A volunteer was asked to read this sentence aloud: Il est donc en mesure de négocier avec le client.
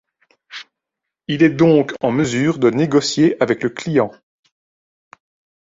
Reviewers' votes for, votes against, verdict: 2, 0, accepted